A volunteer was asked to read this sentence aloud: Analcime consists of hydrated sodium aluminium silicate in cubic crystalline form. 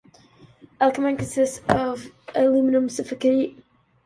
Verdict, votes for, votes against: rejected, 0, 2